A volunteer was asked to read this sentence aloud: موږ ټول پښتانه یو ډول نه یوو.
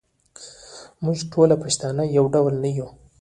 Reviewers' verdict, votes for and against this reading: rejected, 0, 2